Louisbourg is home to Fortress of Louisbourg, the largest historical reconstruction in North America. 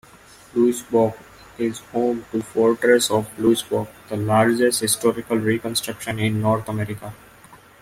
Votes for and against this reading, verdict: 2, 0, accepted